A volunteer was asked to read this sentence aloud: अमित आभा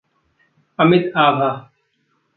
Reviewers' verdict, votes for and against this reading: accepted, 2, 0